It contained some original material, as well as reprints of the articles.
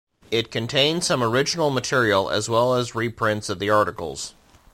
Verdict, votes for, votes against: accepted, 2, 0